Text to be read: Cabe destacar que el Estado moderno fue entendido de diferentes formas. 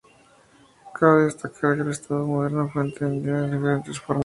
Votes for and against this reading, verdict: 0, 2, rejected